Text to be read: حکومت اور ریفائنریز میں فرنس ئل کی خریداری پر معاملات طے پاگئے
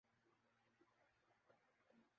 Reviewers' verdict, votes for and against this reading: rejected, 0, 2